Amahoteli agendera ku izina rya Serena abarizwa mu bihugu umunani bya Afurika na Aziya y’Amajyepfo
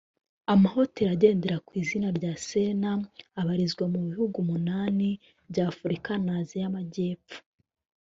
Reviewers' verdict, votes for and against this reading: rejected, 1, 2